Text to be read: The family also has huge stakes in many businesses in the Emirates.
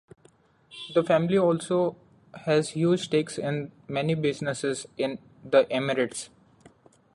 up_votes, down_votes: 2, 0